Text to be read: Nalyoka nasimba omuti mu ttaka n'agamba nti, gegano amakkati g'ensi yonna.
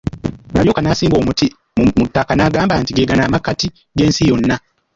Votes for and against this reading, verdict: 1, 2, rejected